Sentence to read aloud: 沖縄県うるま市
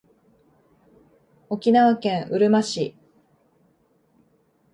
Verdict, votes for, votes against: accepted, 2, 0